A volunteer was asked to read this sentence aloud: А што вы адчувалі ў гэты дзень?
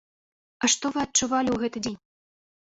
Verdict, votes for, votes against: accepted, 2, 0